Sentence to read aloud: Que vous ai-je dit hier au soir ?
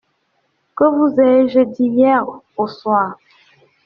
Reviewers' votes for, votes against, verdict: 2, 0, accepted